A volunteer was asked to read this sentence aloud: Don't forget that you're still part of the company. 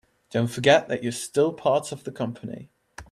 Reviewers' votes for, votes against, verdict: 2, 0, accepted